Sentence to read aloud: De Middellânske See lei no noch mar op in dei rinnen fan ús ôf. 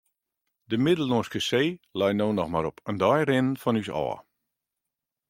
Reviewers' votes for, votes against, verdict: 2, 0, accepted